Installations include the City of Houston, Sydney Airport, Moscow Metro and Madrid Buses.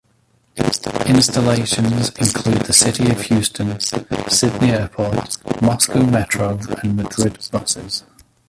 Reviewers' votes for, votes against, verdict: 0, 2, rejected